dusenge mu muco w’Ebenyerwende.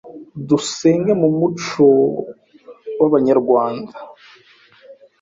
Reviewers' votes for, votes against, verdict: 1, 2, rejected